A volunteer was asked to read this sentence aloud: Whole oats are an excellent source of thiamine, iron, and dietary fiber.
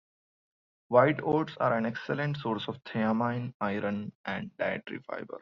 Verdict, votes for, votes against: rejected, 1, 2